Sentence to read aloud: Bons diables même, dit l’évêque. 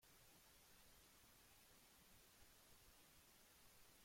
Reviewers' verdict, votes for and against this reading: rejected, 0, 2